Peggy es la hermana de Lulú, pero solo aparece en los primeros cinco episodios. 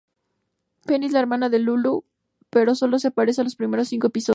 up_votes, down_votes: 0, 2